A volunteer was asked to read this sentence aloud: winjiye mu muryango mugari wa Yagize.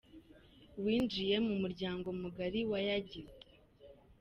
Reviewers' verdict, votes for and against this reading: accepted, 2, 1